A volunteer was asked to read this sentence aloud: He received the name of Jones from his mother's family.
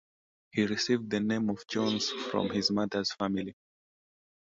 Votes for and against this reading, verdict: 2, 0, accepted